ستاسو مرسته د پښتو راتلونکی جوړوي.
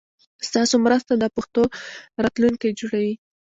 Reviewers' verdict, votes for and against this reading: accepted, 2, 1